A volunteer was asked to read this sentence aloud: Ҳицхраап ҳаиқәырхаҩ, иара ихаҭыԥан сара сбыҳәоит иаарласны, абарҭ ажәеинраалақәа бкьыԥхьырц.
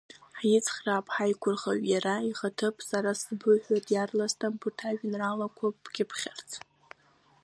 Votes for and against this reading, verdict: 0, 2, rejected